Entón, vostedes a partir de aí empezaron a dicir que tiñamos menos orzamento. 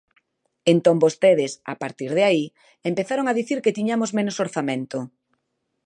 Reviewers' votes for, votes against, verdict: 0, 2, rejected